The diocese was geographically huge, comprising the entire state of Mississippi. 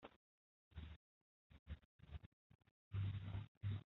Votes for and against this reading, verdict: 0, 2, rejected